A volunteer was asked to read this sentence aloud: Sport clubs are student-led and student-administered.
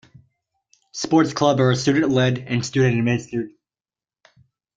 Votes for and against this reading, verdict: 1, 2, rejected